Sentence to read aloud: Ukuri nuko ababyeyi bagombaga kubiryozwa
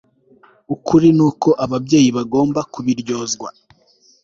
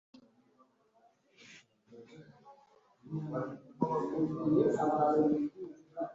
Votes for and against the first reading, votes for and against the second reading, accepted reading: 2, 0, 1, 2, first